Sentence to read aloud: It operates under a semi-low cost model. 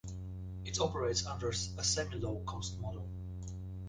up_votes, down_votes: 1, 2